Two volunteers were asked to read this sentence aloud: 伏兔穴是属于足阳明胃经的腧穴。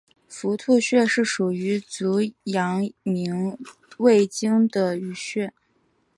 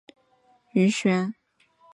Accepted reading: first